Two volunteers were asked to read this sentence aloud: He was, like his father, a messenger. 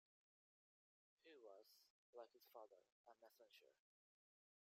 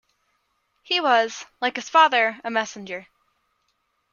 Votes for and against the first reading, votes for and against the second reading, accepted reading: 1, 2, 2, 0, second